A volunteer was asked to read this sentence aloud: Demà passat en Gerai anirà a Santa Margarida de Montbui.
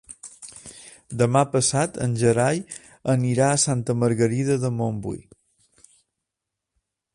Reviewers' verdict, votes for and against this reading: accepted, 2, 0